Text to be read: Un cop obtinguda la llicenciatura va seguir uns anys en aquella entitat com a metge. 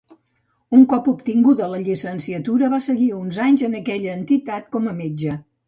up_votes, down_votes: 2, 0